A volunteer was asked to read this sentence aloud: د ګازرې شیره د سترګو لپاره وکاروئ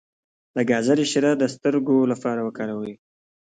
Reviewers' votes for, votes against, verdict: 2, 0, accepted